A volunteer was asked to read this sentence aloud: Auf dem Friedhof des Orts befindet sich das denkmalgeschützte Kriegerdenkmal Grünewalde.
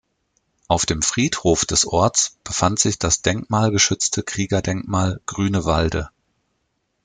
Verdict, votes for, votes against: rejected, 1, 2